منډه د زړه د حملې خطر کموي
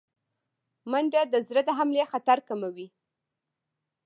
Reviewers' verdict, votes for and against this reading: accepted, 2, 1